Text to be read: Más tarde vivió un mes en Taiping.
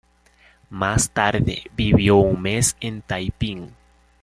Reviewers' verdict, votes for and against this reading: accepted, 2, 1